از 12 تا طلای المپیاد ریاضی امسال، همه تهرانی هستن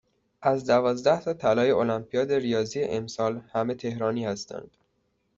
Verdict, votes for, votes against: rejected, 0, 2